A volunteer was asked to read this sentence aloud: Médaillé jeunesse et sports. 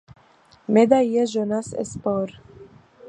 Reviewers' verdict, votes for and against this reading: accepted, 2, 0